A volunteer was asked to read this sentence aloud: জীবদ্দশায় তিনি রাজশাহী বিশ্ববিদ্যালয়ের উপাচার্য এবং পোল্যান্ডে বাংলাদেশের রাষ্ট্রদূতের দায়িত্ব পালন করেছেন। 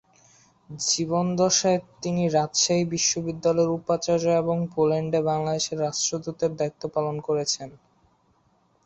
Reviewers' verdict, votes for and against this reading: rejected, 1, 2